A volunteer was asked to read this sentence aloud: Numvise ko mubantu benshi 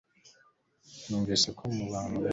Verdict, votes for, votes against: rejected, 1, 2